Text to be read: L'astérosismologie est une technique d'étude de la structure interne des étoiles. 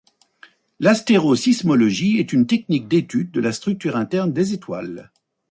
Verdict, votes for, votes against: accepted, 2, 0